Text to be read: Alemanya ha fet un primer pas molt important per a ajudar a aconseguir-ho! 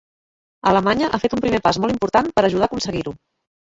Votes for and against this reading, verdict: 2, 1, accepted